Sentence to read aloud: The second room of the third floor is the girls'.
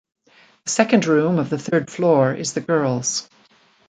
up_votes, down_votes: 0, 2